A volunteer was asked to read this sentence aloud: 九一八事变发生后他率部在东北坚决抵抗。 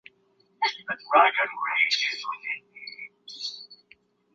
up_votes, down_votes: 1, 3